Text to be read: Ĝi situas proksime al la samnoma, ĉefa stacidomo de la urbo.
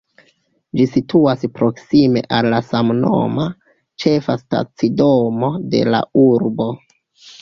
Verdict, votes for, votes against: accepted, 2, 0